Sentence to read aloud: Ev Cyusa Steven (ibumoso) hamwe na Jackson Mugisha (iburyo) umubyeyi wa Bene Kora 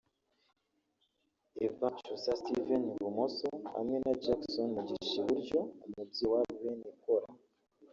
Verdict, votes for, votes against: rejected, 0, 2